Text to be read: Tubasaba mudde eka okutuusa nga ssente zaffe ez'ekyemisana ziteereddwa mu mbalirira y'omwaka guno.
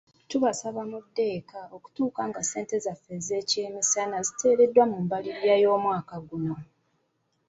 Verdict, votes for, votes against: accepted, 2, 0